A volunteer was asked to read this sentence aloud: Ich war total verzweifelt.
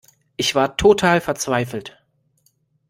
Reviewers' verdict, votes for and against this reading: accepted, 2, 0